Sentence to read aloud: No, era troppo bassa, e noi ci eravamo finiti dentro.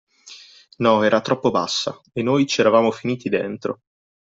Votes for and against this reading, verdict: 2, 0, accepted